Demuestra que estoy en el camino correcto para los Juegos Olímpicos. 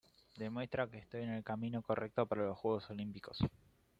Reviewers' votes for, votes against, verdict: 0, 2, rejected